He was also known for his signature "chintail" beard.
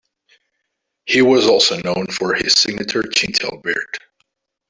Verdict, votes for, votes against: rejected, 1, 2